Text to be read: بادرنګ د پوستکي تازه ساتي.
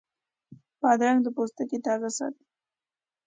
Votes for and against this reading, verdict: 2, 0, accepted